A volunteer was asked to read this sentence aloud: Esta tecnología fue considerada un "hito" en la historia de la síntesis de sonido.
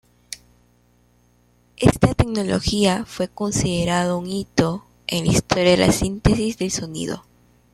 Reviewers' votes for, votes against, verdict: 2, 1, accepted